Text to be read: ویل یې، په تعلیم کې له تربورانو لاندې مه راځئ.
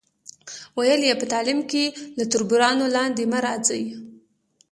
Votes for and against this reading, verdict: 2, 0, accepted